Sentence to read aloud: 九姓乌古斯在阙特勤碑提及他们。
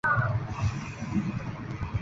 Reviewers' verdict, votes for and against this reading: rejected, 1, 2